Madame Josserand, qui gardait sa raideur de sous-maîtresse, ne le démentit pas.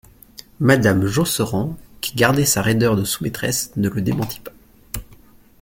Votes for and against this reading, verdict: 2, 0, accepted